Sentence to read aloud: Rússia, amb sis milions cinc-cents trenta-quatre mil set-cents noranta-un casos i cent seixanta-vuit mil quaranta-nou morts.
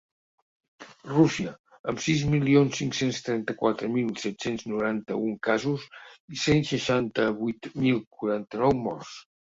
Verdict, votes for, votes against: accepted, 3, 0